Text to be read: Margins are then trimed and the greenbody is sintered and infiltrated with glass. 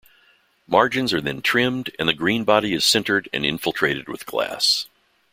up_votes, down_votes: 2, 0